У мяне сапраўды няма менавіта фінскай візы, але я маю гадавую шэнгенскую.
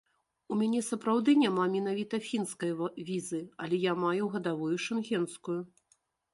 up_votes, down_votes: 0, 2